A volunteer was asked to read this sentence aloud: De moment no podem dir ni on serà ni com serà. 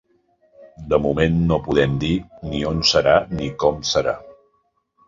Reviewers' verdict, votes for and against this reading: accepted, 2, 0